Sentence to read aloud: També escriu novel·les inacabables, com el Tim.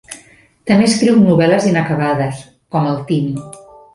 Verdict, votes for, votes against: rejected, 0, 2